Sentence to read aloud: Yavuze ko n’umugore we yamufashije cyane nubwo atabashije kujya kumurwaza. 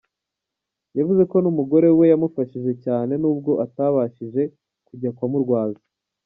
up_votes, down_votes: 3, 0